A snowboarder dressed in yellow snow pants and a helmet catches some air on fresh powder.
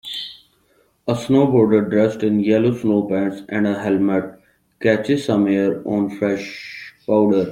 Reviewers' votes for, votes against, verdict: 2, 0, accepted